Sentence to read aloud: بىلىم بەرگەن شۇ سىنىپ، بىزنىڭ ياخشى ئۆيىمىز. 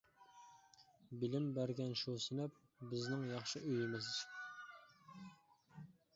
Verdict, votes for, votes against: accepted, 2, 0